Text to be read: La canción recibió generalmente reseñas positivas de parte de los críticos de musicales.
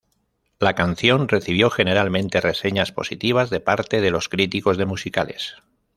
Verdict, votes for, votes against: accepted, 2, 0